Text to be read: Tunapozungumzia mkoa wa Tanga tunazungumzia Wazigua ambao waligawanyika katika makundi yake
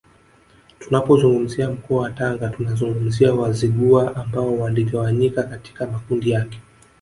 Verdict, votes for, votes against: accepted, 4, 2